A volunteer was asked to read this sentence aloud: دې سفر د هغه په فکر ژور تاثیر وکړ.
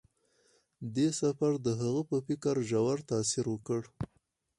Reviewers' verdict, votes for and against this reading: accepted, 4, 0